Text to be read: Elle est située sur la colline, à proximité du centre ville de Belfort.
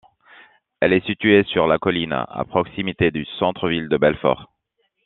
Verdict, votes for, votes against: accepted, 2, 0